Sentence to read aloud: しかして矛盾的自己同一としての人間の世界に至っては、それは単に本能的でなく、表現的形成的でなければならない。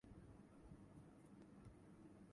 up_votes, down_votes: 0, 2